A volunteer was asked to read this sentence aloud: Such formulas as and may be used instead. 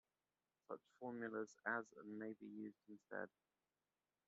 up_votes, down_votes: 1, 2